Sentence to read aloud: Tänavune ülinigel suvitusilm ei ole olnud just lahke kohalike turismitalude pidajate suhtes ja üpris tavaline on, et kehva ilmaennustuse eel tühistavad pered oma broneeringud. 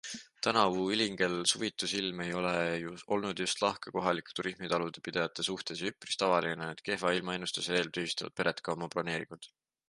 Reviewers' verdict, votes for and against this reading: rejected, 0, 2